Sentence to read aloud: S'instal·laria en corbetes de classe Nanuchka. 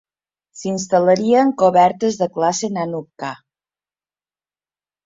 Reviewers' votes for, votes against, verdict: 0, 2, rejected